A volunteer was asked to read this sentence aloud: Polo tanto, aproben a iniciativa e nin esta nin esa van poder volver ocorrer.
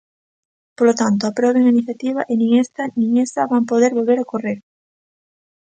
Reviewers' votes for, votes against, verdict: 2, 0, accepted